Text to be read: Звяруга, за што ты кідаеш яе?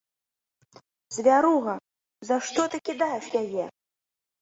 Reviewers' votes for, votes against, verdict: 2, 0, accepted